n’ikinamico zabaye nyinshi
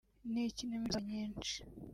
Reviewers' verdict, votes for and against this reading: rejected, 1, 2